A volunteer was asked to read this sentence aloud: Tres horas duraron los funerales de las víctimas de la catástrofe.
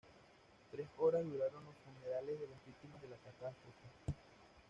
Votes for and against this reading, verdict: 1, 2, rejected